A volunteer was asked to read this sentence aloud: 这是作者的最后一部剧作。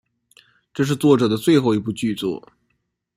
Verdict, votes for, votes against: accepted, 2, 0